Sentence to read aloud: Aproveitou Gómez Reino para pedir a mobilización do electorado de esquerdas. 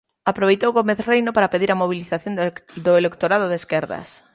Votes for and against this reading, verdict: 0, 2, rejected